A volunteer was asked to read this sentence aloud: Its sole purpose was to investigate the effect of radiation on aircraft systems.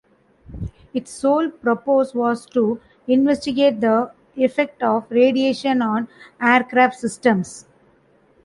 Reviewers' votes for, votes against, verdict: 1, 2, rejected